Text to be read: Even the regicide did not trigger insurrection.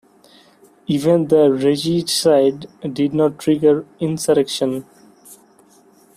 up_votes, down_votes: 0, 2